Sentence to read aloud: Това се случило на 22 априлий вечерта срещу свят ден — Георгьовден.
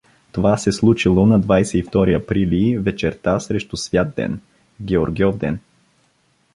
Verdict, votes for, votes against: rejected, 0, 2